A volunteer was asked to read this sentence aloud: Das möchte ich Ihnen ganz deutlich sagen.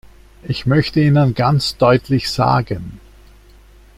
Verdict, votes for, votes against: rejected, 0, 2